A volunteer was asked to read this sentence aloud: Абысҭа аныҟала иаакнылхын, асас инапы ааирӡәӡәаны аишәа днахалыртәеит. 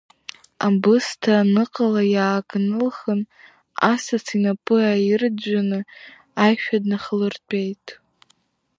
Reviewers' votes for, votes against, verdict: 2, 1, accepted